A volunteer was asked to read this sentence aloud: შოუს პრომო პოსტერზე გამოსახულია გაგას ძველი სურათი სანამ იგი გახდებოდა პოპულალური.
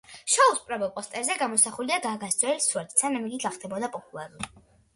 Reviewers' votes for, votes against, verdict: 2, 0, accepted